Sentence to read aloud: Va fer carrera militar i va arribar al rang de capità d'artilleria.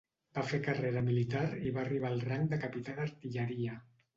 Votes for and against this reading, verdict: 2, 0, accepted